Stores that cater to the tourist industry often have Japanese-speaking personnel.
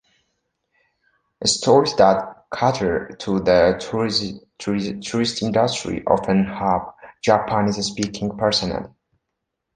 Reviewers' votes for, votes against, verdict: 0, 2, rejected